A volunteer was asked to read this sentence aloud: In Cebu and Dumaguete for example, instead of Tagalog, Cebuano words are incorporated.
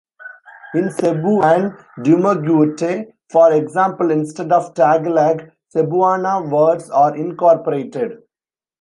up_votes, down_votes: 0, 2